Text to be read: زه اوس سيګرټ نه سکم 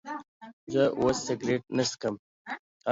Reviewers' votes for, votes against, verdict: 1, 2, rejected